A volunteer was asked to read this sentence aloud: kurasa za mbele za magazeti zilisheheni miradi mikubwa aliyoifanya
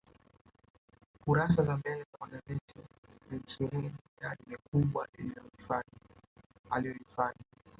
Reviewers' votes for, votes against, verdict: 1, 3, rejected